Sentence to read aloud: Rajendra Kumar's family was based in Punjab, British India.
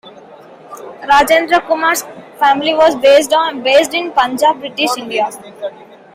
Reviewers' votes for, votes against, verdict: 0, 2, rejected